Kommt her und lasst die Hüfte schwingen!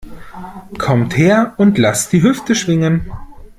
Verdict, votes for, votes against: accepted, 2, 0